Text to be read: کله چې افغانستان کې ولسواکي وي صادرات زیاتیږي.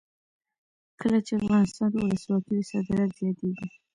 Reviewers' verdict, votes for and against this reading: rejected, 0, 2